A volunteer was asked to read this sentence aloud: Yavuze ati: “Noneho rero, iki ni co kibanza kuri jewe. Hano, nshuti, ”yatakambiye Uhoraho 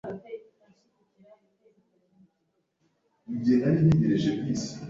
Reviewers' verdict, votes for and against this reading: rejected, 0, 2